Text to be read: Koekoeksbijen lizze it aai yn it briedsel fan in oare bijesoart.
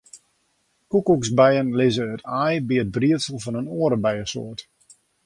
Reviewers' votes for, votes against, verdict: 2, 0, accepted